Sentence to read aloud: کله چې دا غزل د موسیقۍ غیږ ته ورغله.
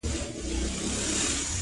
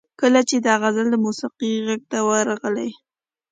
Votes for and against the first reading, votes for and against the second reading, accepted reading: 0, 2, 2, 0, second